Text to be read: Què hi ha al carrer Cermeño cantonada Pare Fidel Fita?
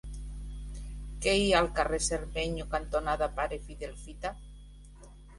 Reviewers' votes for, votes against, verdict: 2, 1, accepted